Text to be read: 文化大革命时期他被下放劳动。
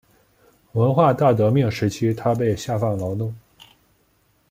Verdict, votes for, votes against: accepted, 2, 1